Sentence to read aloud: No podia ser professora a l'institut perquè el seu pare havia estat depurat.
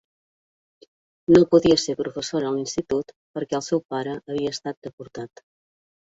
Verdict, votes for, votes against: rejected, 0, 2